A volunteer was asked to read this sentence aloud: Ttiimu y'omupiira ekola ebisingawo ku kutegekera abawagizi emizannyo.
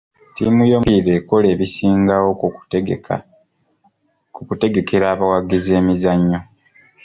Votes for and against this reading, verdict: 0, 2, rejected